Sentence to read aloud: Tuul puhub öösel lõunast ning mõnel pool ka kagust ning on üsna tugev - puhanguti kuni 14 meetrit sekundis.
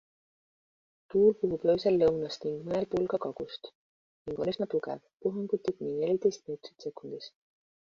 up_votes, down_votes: 0, 2